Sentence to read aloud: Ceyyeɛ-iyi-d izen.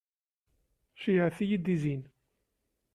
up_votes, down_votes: 0, 3